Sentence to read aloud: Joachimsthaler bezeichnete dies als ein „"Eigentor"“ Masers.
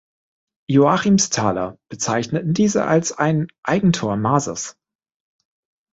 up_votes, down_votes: 0, 3